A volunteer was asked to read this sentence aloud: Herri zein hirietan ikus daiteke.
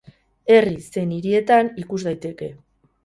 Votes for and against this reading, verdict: 2, 2, rejected